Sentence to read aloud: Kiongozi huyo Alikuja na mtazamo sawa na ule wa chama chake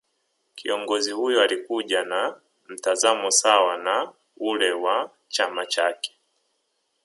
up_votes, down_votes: 0, 2